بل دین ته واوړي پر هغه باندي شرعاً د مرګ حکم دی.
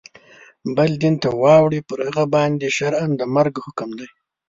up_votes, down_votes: 2, 0